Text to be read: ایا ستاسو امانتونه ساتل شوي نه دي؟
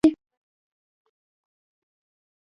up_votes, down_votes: 1, 2